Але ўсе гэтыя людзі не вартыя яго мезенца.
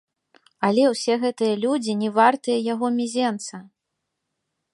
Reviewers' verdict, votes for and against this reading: rejected, 1, 2